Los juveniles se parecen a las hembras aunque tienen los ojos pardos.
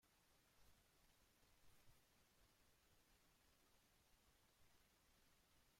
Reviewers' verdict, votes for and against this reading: rejected, 0, 2